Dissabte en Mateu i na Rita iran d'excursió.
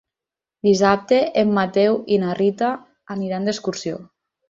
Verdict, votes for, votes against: rejected, 0, 4